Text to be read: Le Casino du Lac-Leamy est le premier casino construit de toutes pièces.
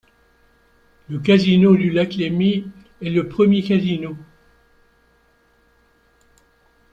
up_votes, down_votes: 0, 2